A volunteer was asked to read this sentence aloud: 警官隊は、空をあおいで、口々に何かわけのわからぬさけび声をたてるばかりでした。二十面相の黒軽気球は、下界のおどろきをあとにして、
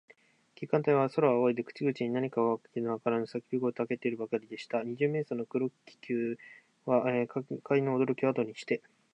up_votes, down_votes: 2, 1